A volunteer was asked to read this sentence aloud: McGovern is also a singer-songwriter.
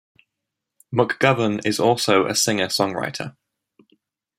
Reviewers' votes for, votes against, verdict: 3, 1, accepted